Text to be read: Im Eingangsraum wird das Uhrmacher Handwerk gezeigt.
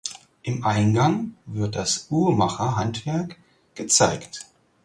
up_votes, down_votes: 0, 4